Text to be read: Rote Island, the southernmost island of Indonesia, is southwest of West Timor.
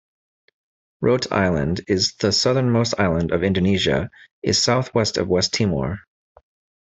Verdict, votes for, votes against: rejected, 1, 2